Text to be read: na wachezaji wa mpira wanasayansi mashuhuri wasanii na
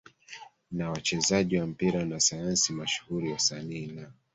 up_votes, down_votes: 1, 2